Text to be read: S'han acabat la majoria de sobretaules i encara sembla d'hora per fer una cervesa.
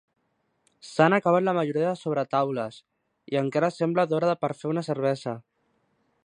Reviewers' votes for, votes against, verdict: 2, 0, accepted